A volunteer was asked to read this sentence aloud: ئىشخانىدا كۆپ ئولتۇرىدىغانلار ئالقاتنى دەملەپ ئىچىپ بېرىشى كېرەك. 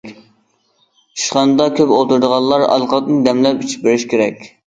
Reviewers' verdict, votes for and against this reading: rejected, 0, 2